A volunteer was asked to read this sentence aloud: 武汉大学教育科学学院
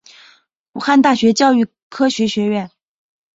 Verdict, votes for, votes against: accepted, 9, 0